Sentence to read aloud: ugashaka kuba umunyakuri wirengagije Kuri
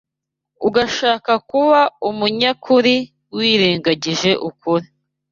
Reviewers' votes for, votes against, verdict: 2, 0, accepted